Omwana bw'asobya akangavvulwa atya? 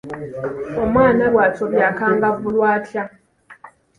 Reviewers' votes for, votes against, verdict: 2, 0, accepted